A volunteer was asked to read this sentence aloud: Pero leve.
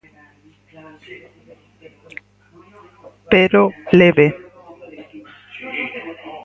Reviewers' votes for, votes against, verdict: 4, 0, accepted